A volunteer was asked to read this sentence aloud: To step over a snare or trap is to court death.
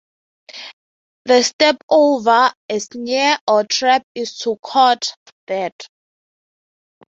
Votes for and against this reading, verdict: 0, 3, rejected